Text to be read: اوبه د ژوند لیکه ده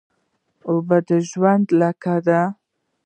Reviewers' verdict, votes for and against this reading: rejected, 0, 2